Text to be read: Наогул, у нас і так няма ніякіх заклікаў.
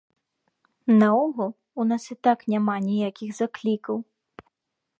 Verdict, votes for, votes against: rejected, 1, 2